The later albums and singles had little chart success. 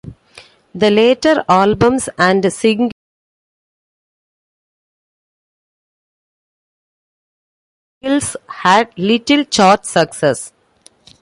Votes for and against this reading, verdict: 1, 2, rejected